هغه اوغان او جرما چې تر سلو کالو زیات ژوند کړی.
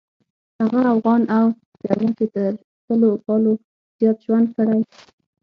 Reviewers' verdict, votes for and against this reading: rejected, 3, 6